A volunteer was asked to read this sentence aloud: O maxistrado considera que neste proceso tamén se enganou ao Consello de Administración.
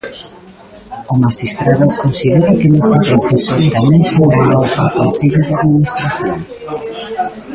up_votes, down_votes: 0, 2